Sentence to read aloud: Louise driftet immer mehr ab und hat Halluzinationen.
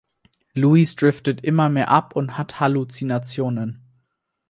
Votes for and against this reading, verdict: 4, 0, accepted